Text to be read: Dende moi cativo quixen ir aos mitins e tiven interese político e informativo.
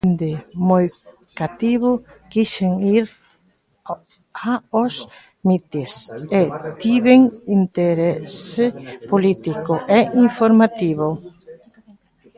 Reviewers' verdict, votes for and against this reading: rejected, 0, 2